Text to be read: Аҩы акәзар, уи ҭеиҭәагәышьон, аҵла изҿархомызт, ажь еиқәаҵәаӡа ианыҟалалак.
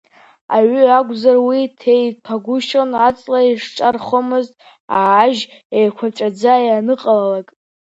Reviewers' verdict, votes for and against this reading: accepted, 2, 0